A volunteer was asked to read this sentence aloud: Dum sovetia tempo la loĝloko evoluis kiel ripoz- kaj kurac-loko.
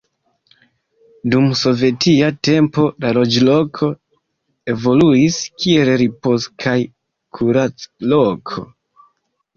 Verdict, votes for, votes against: rejected, 1, 2